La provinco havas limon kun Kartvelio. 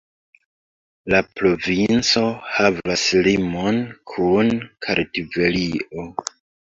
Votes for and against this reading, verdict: 2, 0, accepted